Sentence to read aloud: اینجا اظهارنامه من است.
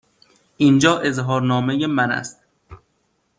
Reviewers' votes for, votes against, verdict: 2, 0, accepted